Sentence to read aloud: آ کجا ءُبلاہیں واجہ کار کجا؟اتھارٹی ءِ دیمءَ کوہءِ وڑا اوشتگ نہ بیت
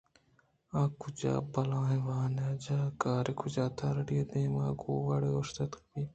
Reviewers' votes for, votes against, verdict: 2, 0, accepted